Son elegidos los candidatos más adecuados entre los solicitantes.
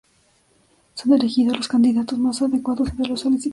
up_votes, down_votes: 0, 2